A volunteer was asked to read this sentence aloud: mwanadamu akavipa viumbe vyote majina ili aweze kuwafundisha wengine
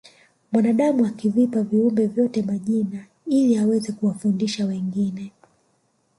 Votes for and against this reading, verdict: 2, 0, accepted